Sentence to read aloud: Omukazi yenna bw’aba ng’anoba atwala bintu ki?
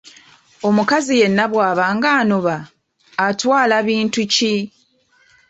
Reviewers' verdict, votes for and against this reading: accepted, 2, 0